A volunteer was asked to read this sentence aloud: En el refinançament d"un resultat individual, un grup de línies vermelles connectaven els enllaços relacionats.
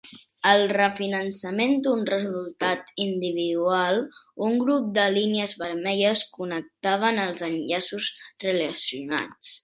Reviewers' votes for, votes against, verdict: 1, 2, rejected